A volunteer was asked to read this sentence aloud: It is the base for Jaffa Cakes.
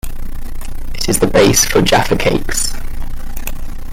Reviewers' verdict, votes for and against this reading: accepted, 2, 0